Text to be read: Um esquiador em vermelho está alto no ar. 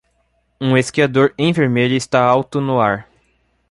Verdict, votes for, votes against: accepted, 2, 0